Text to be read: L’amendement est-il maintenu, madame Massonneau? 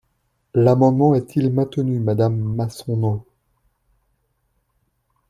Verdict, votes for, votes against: rejected, 1, 2